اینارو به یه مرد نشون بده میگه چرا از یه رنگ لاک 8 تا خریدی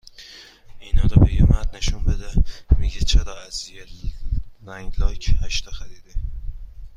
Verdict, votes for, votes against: rejected, 0, 2